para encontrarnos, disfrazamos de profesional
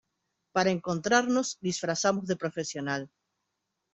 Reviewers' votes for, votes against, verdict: 2, 0, accepted